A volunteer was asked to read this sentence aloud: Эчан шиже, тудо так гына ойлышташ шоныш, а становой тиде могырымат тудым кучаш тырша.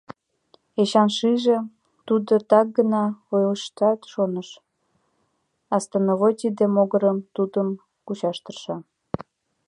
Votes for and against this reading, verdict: 0, 2, rejected